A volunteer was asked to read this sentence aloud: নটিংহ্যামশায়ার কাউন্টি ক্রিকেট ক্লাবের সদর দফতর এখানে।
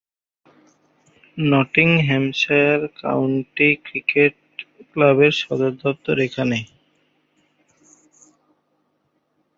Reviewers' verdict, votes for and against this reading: rejected, 0, 2